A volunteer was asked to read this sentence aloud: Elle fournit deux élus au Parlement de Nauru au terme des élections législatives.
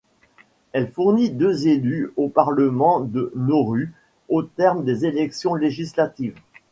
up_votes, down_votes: 2, 0